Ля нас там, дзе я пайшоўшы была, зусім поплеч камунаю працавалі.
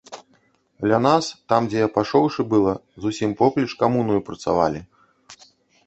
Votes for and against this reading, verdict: 2, 3, rejected